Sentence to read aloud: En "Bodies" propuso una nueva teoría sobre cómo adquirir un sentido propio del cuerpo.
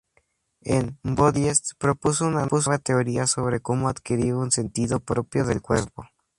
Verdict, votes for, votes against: rejected, 0, 4